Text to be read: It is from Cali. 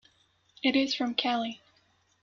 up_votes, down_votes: 2, 0